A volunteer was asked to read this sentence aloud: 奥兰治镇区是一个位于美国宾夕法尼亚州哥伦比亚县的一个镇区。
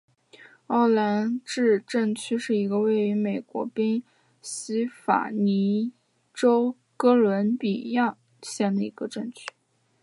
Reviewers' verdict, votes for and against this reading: accepted, 2, 1